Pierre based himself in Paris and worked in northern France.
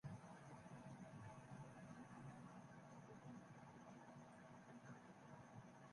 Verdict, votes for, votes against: rejected, 0, 3